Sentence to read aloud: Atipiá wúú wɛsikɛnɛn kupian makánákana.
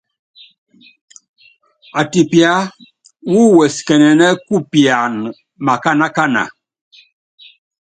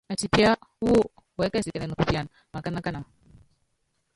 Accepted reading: first